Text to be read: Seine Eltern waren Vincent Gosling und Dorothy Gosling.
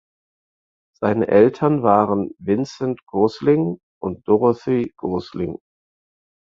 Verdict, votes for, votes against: accepted, 4, 0